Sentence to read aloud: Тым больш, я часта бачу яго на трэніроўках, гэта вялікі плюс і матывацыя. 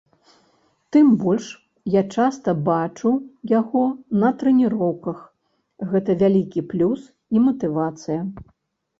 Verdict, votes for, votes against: accepted, 2, 0